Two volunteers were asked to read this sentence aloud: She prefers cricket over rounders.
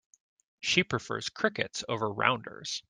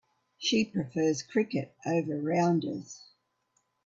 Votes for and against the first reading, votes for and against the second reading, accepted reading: 0, 2, 2, 1, second